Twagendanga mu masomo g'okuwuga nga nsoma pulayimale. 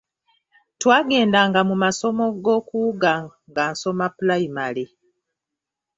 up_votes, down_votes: 2, 1